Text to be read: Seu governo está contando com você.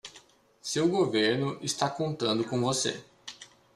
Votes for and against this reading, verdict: 2, 0, accepted